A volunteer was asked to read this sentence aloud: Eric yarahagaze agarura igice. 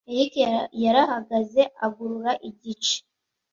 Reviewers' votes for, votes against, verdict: 1, 2, rejected